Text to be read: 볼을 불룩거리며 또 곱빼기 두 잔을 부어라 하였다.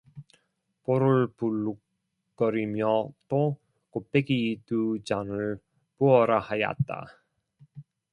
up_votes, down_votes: 0, 2